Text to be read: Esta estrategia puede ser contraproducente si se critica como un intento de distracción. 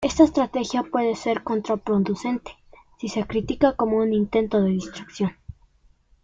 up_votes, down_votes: 2, 0